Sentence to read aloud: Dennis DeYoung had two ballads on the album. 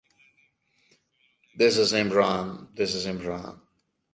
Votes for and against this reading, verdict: 0, 2, rejected